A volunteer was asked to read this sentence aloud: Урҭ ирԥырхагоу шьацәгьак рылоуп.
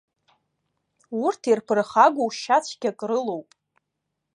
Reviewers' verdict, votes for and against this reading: accepted, 2, 0